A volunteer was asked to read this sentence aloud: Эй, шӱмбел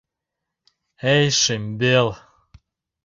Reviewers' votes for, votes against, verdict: 2, 0, accepted